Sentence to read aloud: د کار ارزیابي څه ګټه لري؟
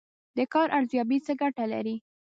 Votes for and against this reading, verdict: 1, 2, rejected